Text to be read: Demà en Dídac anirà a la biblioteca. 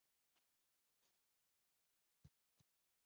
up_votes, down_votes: 0, 2